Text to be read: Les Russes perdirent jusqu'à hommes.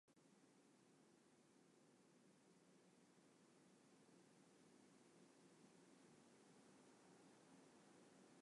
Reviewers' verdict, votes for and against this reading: rejected, 0, 2